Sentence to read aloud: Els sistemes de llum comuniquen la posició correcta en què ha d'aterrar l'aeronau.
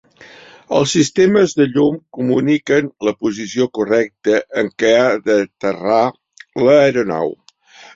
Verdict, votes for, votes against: accepted, 2, 1